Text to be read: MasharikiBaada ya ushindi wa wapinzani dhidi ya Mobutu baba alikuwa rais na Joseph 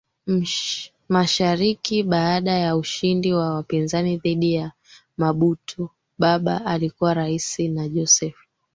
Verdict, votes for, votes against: rejected, 1, 3